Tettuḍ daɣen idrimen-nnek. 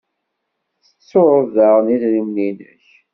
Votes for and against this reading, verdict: 1, 2, rejected